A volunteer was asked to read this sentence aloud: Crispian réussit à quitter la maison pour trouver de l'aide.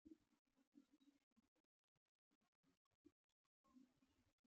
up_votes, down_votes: 0, 2